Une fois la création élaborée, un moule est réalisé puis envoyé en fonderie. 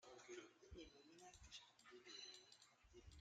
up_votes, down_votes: 0, 2